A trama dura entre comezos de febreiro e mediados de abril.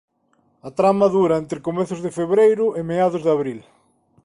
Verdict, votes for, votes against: rejected, 1, 2